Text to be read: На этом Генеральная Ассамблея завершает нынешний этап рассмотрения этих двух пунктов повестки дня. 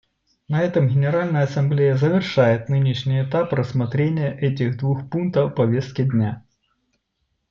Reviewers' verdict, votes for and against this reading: accepted, 2, 0